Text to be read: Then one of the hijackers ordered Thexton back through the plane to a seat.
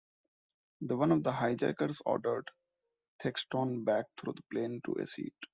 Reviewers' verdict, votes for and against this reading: rejected, 1, 2